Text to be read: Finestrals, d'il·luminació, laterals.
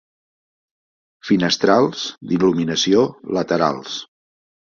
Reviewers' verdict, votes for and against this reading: accepted, 2, 0